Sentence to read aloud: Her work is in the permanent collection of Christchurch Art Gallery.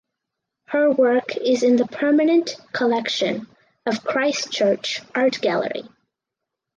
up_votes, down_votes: 4, 0